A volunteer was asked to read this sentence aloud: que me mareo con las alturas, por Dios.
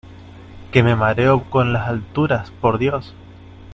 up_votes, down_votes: 2, 1